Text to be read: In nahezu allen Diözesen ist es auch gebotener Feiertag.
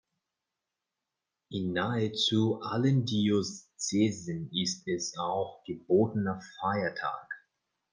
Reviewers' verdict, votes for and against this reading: rejected, 1, 2